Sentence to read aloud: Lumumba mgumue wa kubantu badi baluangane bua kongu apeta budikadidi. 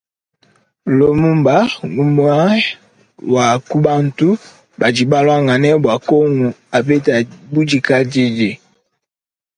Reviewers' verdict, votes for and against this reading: accepted, 2, 0